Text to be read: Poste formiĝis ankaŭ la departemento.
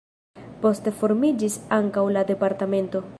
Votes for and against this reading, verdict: 0, 2, rejected